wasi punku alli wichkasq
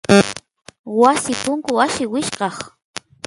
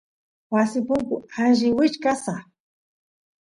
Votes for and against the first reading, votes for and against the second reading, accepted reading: 0, 2, 2, 0, second